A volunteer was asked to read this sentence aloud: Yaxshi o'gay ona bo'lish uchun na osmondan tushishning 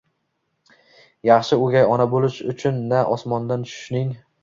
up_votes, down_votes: 2, 0